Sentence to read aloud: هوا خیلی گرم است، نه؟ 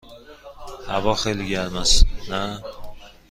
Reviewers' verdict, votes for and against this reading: accepted, 2, 0